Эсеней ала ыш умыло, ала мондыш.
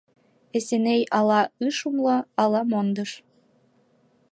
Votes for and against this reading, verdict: 1, 2, rejected